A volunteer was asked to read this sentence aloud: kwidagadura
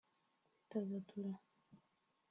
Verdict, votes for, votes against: accepted, 3, 1